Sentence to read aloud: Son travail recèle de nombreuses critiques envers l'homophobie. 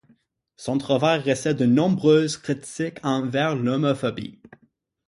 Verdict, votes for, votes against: rejected, 3, 6